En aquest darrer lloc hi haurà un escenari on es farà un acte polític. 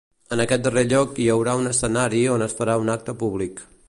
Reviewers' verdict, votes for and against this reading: rejected, 0, 2